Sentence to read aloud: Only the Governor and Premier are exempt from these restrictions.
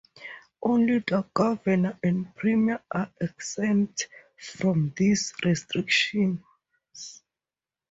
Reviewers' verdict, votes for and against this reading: rejected, 0, 2